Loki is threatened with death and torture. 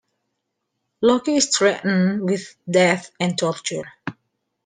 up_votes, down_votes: 2, 0